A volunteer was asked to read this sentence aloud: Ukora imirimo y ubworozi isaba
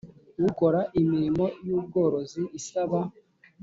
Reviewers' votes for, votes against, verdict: 2, 0, accepted